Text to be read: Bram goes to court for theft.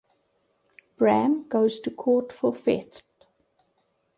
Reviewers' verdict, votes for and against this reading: rejected, 0, 2